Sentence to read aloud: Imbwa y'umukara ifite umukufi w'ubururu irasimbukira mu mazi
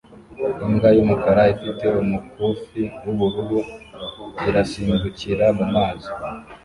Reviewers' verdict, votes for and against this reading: accepted, 2, 0